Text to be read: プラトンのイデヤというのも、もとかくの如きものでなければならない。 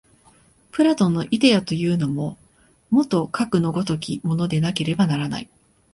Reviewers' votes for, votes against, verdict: 0, 2, rejected